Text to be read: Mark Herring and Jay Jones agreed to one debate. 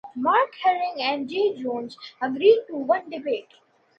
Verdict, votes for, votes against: accepted, 2, 0